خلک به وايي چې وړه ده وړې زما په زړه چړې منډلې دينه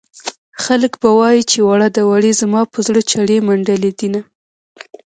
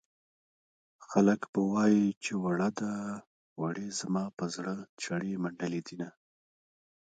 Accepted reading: first